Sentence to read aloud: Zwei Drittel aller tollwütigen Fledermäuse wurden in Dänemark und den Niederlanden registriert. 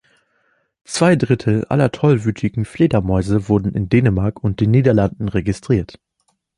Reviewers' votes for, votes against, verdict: 2, 0, accepted